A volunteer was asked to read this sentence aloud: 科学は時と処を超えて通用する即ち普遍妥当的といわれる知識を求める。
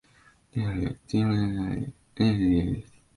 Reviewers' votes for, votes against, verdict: 0, 2, rejected